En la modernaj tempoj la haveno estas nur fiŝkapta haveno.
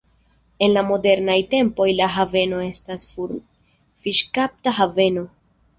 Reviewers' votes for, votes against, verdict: 0, 2, rejected